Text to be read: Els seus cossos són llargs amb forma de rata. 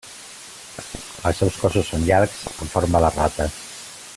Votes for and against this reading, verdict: 2, 1, accepted